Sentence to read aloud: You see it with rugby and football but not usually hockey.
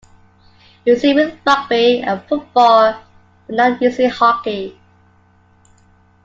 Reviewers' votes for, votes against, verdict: 0, 2, rejected